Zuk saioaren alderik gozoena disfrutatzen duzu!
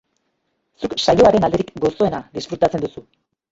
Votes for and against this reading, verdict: 1, 2, rejected